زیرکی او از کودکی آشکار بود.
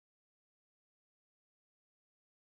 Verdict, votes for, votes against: rejected, 0, 2